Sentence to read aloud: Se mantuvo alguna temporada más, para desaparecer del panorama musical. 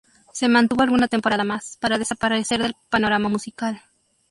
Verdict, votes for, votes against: accepted, 2, 0